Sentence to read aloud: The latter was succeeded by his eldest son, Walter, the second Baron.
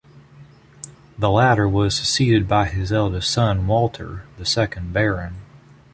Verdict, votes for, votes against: accepted, 2, 0